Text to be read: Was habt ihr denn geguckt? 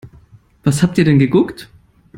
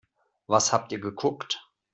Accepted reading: first